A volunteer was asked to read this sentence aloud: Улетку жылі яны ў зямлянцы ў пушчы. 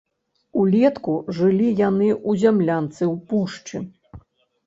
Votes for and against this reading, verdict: 0, 2, rejected